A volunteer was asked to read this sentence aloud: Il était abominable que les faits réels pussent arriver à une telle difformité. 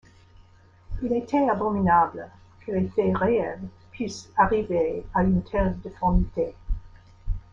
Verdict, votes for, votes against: accepted, 2, 1